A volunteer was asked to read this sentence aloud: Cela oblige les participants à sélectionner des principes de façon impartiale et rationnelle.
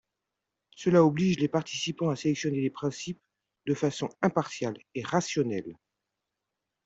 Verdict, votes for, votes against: rejected, 1, 2